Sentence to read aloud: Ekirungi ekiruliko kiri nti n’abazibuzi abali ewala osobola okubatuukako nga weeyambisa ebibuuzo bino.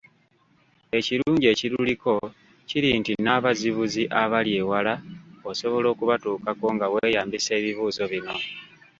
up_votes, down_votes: 2, 1